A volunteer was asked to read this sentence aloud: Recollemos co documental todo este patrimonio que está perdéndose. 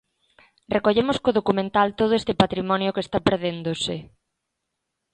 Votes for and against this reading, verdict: 3, 0, accepted